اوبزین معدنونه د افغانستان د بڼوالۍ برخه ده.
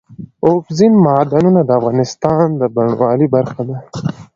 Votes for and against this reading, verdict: 3, 0, accepted